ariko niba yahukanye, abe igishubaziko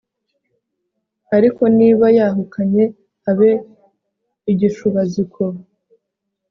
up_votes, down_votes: 2, 0